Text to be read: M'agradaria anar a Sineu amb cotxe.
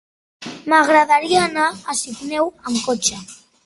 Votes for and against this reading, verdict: 2, 1, accepted